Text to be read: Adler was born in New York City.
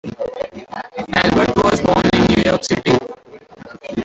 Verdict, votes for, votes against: rejected, 0, 2